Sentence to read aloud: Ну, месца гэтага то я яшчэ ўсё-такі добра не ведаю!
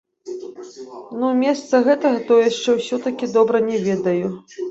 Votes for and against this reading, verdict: 0, 2, rejected